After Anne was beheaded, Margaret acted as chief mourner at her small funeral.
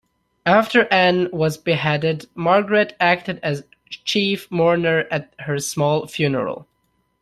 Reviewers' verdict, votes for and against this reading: accepted, 2, 0